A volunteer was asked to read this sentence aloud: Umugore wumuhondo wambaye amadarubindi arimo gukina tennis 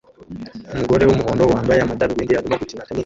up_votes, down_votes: 0, 2